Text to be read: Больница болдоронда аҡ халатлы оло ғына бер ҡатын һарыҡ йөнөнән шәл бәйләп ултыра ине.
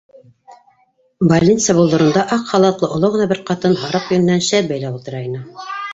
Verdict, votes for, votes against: rejected, 1, 2